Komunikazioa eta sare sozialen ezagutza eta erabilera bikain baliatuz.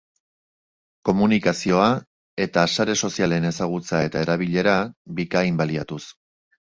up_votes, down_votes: 3, 0